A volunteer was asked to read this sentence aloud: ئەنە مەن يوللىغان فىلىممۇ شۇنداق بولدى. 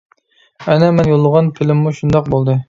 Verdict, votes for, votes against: accepted, 2, 0